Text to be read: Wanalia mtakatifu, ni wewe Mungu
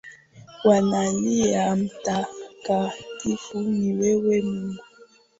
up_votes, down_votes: 7, 3